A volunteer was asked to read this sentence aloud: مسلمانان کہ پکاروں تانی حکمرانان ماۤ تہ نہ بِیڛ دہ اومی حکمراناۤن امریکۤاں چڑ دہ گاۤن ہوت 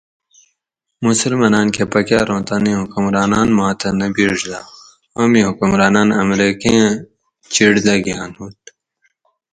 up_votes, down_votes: 2, 2